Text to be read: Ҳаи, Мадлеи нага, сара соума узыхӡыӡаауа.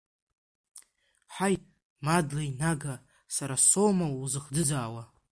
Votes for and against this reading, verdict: 0, 2, rejected